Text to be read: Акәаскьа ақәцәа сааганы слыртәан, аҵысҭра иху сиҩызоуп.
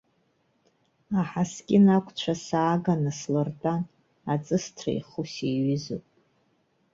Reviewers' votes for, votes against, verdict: 0, 2, rejected